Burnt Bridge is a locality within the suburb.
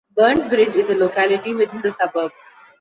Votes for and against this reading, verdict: 2, 1, accepted